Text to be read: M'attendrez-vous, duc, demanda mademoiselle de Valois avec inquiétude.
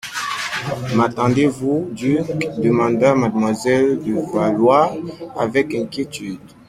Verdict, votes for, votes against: accepted, 2, 1